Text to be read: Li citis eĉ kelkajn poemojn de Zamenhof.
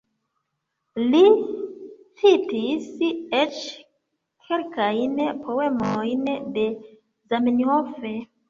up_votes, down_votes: 0, 2